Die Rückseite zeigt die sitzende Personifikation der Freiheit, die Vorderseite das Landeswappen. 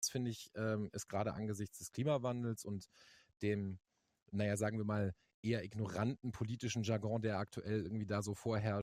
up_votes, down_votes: 0, 2